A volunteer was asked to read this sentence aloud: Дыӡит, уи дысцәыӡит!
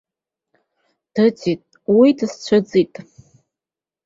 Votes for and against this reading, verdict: 2, 0, accepted